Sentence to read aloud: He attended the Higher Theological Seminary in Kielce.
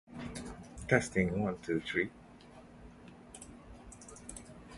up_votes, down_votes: 0, 2